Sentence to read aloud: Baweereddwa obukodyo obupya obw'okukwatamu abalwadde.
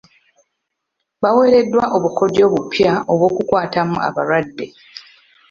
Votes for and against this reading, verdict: 2, 0, accepted